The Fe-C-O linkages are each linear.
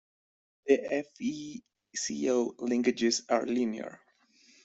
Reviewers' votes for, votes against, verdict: 0, 2, rejected